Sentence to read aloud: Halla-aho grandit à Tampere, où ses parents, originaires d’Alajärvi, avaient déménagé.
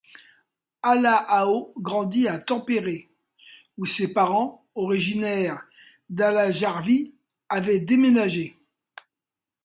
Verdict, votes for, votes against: accepted, 2, 0